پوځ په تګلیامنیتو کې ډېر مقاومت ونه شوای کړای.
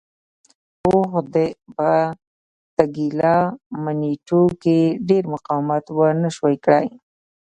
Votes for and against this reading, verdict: 1, 2, rejected